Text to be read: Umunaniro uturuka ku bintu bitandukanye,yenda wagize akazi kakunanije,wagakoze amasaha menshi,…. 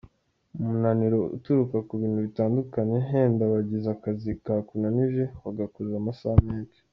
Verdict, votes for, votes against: rejected, 0, 2